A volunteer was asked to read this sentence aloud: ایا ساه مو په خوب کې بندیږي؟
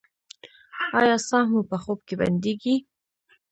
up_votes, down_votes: 0, 2